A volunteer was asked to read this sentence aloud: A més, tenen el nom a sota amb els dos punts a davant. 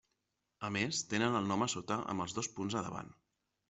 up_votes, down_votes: 3, 0